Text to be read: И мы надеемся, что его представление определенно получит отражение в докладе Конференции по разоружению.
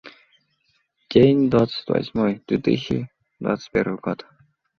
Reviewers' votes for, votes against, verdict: 0, 2, rejected